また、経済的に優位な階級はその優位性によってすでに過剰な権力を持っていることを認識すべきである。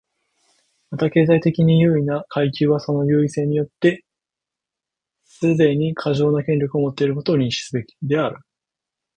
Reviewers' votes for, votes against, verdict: 1, 2, rejected